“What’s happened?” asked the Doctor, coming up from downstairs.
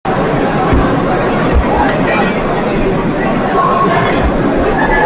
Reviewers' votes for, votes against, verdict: 0, 2, rejected